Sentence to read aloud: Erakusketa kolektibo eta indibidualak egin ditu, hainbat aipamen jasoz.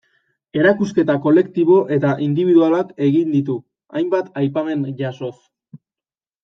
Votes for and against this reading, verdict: 2, 0, accepted